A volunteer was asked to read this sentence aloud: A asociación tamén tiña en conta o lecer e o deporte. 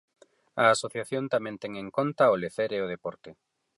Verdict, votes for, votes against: rejected, 0, 4